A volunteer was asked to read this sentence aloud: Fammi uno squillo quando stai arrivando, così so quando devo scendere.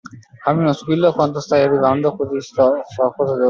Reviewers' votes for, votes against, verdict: 0, 2, rejected